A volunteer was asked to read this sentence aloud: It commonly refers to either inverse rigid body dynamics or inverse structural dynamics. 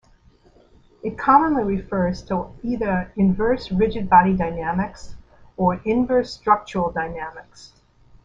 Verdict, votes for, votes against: rejected, 1, 2